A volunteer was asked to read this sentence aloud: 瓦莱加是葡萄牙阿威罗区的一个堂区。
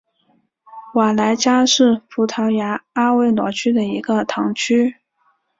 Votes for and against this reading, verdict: 4, 0, accepted